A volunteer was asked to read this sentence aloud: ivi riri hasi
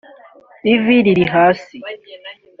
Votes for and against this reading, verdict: 2, 0, accepted